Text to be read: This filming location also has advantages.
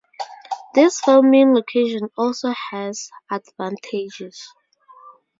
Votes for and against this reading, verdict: 2, 0, accepted